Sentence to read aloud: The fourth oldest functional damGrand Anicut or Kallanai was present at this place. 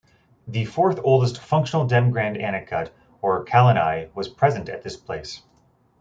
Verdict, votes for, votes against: accepted, 2, 0